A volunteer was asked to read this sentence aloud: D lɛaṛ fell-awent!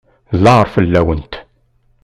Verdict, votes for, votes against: accepted, 2, 0